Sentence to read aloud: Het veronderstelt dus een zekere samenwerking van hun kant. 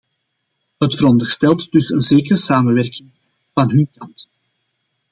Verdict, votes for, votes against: accepted, 2, 1